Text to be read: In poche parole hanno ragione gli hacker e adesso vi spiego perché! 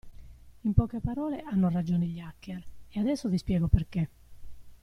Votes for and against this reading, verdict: 0, 2, rejected